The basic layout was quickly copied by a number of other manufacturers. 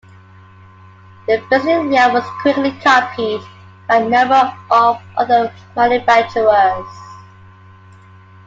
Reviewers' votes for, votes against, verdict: 2, 0, accepted